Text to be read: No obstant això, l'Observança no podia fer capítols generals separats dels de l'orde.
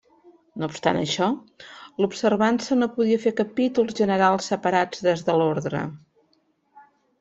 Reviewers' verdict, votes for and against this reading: rejected, 1, 2